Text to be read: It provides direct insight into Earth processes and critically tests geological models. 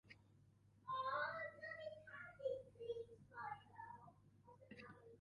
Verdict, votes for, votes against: rejected, 1, 2